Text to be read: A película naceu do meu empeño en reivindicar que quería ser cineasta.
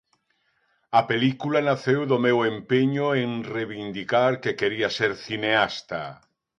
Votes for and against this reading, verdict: 2, 0, accepted